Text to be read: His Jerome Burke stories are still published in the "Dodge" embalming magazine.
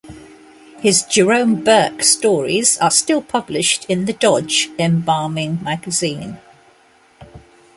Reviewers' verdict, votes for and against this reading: accepted, 2, 1